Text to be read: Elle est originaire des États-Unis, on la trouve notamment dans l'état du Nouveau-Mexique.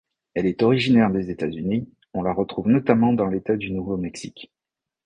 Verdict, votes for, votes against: rejected, 0, 2